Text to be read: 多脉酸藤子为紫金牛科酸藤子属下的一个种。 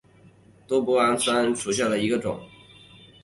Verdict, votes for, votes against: rejected, 1, 3